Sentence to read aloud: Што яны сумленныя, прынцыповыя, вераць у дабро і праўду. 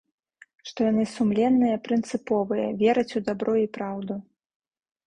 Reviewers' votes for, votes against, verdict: 2, 0, accepted